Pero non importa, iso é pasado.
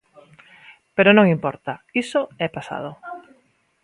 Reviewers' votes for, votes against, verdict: 2, 0, accepted